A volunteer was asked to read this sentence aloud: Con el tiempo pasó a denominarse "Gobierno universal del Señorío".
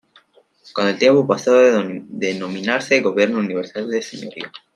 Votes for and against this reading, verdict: 0, 2, rejected